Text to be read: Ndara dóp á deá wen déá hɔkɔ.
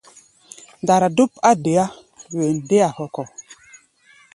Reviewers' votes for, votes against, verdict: 2, 1, accepted